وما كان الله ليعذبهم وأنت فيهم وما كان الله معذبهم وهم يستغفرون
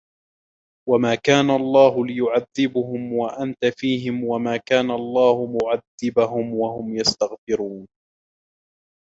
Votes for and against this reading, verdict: 1, 2, rejected